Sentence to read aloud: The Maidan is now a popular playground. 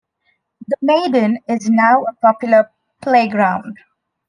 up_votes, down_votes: 2, 1